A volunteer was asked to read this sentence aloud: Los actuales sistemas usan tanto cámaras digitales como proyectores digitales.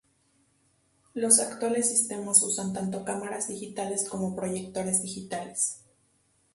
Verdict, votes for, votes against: rejected, 0, 2